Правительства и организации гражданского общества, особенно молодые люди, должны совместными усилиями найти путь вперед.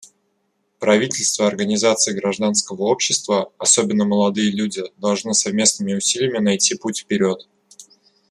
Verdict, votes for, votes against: accepted, 2, 1